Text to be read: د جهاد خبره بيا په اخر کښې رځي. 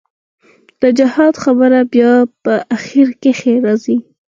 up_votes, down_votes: 4, 0